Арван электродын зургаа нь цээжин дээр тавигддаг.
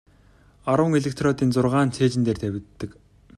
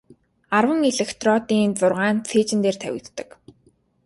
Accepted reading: first